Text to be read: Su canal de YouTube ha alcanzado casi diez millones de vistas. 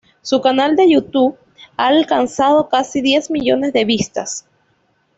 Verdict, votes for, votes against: accepted, 2, 0